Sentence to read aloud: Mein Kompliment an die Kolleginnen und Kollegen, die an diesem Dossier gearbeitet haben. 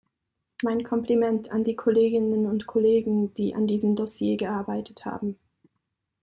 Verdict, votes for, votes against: accepted, 2, 0